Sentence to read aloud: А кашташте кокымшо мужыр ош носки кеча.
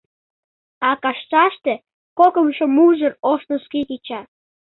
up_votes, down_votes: 2, 0